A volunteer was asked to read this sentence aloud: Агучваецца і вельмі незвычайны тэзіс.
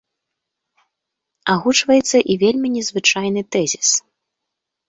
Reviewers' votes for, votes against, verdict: 2, 0, accepted